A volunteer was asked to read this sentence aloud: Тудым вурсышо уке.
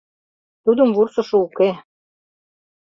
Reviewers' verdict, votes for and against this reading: accepted, 2, 0